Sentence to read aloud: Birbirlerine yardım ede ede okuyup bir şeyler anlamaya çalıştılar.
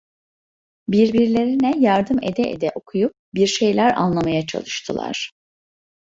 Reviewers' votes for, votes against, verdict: 1, 2, rejected